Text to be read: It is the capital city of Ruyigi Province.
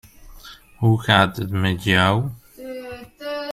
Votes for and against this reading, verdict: 0, 2, rejected